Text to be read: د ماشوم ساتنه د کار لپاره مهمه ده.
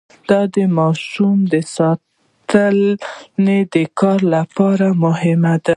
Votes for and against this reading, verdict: 0, 2, rejected